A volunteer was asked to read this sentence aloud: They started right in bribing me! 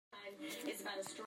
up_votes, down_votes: 0, 2